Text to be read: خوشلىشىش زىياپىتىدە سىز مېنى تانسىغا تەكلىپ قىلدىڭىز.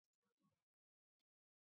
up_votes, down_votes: 0, 2